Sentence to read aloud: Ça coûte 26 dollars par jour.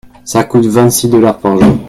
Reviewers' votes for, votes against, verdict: 0, 2, rejected